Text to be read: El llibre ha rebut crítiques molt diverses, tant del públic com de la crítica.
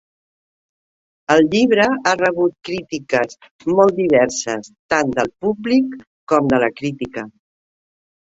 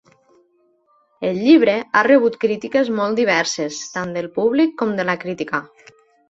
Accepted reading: second